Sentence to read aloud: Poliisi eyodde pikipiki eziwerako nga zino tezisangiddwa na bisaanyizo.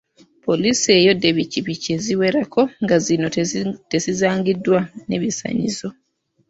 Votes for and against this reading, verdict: 0, 2, rejected